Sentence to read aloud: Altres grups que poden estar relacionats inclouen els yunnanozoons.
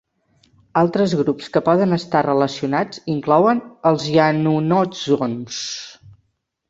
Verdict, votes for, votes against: rejected, 1, 2